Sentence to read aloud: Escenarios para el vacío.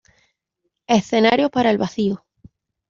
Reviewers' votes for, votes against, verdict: 1, 2, rejected